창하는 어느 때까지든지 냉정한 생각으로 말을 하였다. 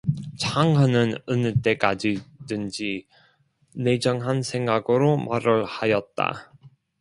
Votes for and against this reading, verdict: 0, 2, rejected